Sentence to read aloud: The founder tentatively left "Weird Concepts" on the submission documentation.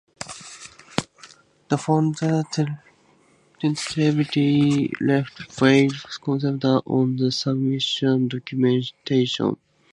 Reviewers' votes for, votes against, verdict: 2, 0, accepted